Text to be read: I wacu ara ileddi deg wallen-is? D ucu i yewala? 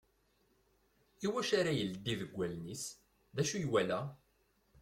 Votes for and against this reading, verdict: 3, 0, accepted